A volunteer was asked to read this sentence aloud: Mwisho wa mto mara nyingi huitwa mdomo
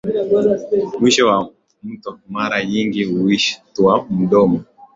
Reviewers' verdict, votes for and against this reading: rejected, 0, 2